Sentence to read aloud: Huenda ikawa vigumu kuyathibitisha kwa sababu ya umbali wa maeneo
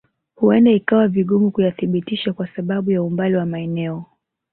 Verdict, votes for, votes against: accepted, 2, 0